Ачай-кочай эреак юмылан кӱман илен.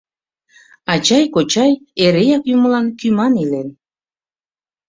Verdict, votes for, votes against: accepted, 2, 0